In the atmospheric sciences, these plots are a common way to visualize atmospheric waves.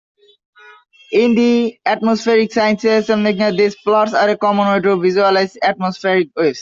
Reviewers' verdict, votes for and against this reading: rejected, 1, 2